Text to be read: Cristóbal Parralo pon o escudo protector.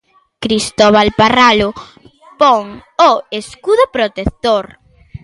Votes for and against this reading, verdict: 1, 2, rejected